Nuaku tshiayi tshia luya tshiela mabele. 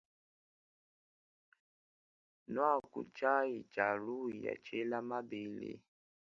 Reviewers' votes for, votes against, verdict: 2, 1, accepted